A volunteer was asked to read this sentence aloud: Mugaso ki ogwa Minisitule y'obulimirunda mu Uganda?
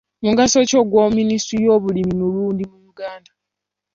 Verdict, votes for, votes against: rejected, 1, 2